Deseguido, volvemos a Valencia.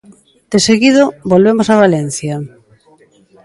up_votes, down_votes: 2, 1